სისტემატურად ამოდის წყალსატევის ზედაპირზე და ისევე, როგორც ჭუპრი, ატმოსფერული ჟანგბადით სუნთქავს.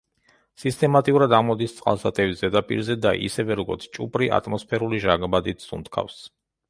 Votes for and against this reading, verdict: 0, 2, rejected